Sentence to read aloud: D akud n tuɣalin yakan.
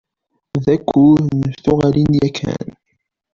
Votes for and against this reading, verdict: 1, 2, rejected